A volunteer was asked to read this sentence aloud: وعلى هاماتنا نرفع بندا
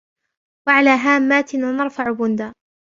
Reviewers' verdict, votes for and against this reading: accepted, 2, 0